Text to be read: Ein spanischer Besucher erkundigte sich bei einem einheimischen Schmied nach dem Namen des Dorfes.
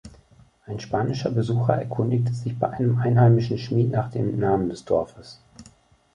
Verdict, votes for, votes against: accepted, 3, 0